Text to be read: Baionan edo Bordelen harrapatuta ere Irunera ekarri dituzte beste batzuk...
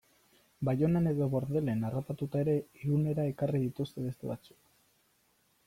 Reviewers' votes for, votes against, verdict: 2, 0, accepted